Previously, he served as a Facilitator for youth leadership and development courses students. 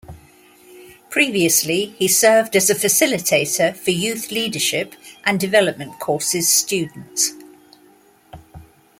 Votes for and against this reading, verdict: 2, 0, accepted